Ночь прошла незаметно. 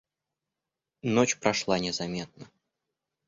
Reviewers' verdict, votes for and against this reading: accepted, 2, 0